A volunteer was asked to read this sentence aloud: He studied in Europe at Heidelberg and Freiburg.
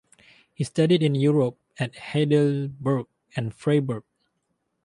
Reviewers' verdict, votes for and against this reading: accepted, 4, 0